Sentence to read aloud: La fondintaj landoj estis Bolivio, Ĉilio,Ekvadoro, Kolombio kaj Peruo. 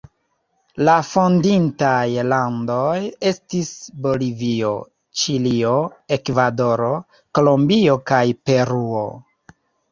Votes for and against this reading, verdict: 0, 2, rejected